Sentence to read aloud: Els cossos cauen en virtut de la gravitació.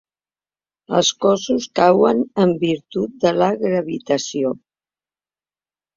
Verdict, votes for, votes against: accepted, 3, 0